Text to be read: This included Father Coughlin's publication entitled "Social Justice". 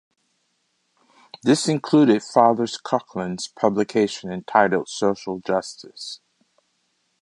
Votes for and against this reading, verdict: 2, 0, accepted